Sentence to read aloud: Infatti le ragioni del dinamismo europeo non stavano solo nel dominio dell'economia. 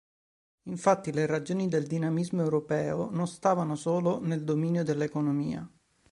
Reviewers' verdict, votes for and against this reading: accepted, 2, 0